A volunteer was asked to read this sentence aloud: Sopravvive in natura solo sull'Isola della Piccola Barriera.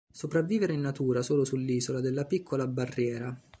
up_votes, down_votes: 0, 2